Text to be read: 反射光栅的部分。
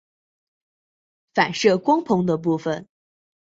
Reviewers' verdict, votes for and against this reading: rejected, 1, 2